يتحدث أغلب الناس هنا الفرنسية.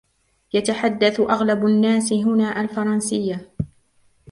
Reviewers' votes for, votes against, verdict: 0, 2, rejected